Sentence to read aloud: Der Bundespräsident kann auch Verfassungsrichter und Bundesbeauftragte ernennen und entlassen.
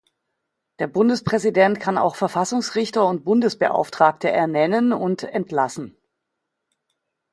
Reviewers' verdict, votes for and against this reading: accepted, 2, 0